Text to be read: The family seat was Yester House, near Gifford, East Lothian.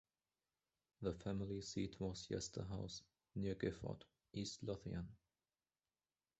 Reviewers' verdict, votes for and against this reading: rejected, 1, 2